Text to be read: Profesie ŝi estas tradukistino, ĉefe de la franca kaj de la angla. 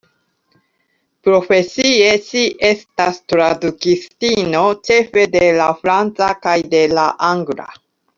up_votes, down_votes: 1, 2